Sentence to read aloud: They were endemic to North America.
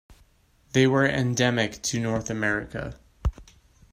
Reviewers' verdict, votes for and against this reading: accepted, 2, 0